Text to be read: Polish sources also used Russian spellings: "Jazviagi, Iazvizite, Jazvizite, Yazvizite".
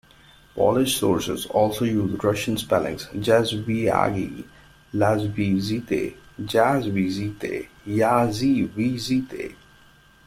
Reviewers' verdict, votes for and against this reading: rejected, 0, 2